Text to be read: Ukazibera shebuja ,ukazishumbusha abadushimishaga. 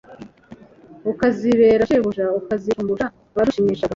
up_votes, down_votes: 2, 3